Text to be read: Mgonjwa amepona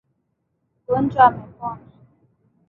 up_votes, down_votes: 3, 1